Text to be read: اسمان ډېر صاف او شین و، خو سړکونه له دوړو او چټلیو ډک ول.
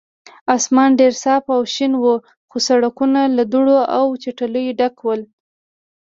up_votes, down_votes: 2, 0